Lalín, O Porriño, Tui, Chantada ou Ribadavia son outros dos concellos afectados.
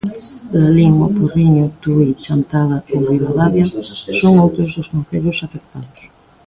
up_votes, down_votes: 0, 2